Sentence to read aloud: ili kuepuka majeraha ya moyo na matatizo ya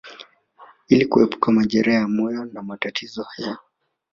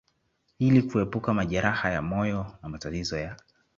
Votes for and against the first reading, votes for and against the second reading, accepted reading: 2, 1, 0, 3, first